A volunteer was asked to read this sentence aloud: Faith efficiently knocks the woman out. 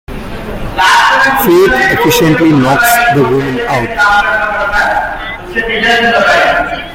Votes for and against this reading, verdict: 0, 2, rejected